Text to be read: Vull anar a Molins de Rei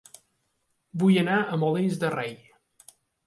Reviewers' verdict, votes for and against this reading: accepted, 2, 0